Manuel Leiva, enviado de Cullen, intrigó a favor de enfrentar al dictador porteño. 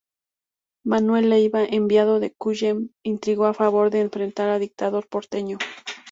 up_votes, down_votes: 2, 0